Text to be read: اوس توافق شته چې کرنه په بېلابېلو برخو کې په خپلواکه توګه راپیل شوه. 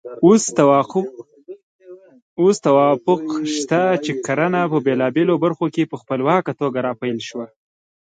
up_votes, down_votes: 0, 2